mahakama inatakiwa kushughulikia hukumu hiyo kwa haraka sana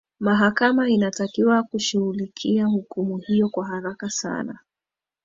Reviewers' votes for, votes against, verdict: 2, 1, accepted